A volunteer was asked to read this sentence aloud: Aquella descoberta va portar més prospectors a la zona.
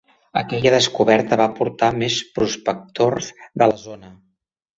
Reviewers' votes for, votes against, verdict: 3, 4, rejected